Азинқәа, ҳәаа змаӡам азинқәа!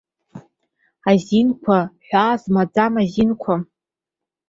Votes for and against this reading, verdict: 2, 0, accepted